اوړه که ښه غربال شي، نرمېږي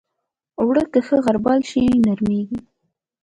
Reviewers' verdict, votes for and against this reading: accepted, 2, 0